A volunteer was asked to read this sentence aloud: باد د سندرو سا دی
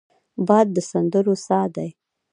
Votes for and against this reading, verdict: 1, 2, rejected